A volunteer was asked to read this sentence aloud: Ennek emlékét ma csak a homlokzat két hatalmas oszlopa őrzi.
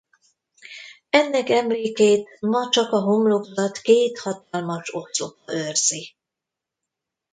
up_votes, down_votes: 1, 2